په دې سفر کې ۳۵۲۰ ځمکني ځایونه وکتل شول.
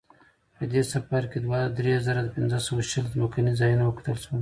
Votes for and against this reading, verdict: 0, 2, rejected